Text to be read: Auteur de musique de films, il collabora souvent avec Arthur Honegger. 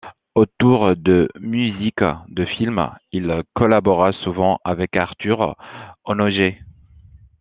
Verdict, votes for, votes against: rejected, 0, 2